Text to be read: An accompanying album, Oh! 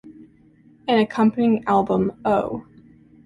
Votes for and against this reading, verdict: 2, 0, accepted